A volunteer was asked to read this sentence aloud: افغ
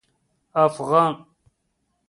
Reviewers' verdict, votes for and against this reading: rejected, 0, 2